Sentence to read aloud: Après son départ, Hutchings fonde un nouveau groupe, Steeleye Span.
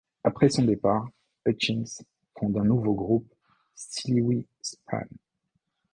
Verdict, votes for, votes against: rejected, 1, 2